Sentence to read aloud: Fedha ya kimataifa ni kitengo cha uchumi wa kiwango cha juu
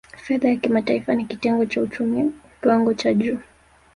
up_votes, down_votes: 1, 2